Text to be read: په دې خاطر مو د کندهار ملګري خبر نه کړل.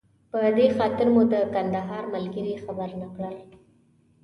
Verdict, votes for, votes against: accepted, 2, 0